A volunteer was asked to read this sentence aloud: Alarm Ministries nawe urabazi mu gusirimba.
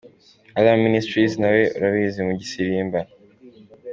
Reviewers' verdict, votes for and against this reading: accepted, 2, 1